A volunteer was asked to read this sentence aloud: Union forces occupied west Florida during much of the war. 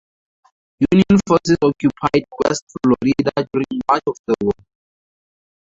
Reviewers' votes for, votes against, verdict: 0, 4, rejected